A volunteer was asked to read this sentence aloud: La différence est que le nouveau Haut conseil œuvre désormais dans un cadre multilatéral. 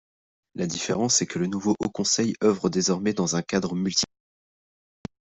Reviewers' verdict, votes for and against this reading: rejected, 1, 2